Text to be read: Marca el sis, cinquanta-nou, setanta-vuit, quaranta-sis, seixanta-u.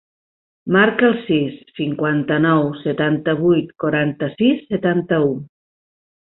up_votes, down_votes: 1, 2